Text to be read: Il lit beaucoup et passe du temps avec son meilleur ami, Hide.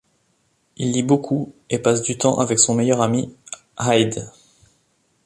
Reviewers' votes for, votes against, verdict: 2, 1, accepted